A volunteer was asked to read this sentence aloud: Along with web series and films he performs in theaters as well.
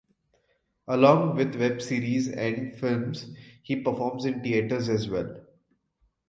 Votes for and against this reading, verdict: 2, 0, accepted